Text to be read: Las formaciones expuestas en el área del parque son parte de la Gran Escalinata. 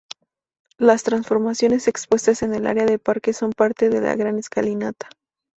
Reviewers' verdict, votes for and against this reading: rejected, 0, 2